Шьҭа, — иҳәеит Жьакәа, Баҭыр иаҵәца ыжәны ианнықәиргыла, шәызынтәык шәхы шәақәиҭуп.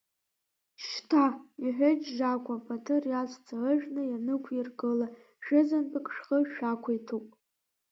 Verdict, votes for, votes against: rejected, 1, 2